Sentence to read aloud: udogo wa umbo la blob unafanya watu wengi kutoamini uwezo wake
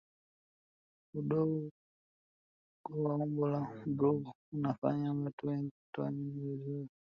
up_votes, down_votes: 0, 2